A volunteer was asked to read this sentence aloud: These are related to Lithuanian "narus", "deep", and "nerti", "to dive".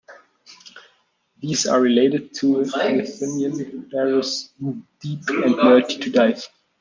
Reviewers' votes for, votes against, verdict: 0, 2, rejected